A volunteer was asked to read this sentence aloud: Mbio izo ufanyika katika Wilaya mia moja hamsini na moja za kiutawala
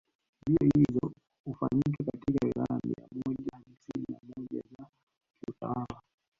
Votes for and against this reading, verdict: 0, 2, rejected